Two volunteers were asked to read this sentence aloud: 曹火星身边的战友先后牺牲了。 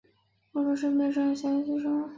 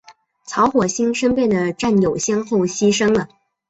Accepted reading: second